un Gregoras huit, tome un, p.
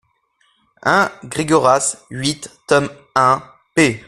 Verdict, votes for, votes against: accepted, 2, 0